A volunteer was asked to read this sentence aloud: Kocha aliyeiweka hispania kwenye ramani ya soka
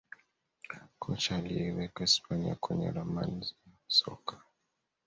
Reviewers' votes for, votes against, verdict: 2, 1, accepted